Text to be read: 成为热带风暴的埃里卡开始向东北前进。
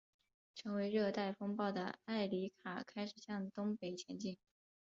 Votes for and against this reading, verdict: 2, 1, accepted